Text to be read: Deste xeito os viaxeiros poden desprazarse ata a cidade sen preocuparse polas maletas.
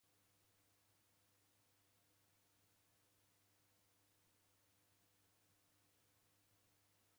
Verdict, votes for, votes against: rejected, 0, 2